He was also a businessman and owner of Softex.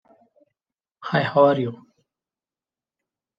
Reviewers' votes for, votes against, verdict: 0, 2, rejected